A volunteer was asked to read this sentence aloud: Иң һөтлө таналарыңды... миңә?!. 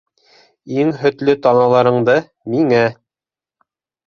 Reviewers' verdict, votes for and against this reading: accepted, 2, 0